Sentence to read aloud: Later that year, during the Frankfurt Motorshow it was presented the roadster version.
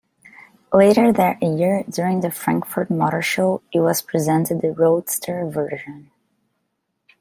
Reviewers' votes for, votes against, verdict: 2, 0, accepted